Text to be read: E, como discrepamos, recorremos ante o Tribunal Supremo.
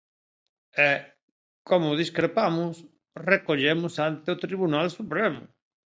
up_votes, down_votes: 1, 2